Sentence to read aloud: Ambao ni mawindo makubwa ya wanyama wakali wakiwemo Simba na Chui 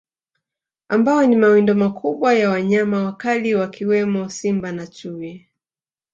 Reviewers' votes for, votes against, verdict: 2, 0, accepted